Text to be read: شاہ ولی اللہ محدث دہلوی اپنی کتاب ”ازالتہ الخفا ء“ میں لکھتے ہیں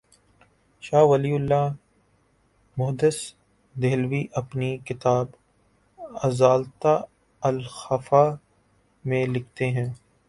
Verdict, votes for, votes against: accepted, 5, 0